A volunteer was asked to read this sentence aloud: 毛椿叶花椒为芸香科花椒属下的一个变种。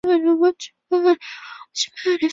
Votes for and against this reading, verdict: 1, 3, rejected